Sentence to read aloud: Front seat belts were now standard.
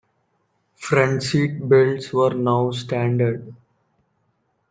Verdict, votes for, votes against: rejected, 1, 2